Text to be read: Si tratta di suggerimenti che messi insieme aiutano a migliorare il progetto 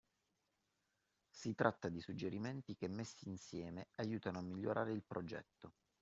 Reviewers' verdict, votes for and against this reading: rejected, 1, 2